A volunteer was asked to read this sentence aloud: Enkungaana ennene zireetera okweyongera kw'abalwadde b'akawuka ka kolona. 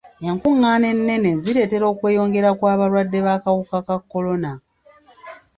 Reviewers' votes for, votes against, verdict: 2, 1, accepted